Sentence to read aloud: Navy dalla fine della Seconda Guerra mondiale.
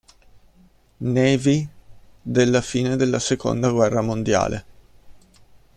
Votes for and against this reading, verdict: 1, 2, rejected